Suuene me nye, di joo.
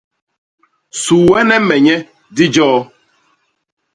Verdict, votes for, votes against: accepted, 2, 0